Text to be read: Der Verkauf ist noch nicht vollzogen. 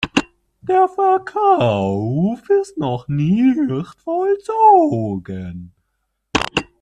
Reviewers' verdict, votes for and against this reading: rejected, 0, 2